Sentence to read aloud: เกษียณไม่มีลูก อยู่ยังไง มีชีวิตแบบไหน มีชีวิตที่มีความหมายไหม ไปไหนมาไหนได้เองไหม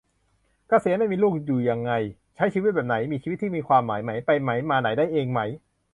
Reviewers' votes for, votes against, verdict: 0, 2, rejected